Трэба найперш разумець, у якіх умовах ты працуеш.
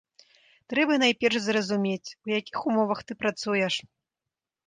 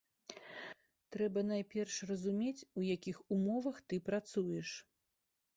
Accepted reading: second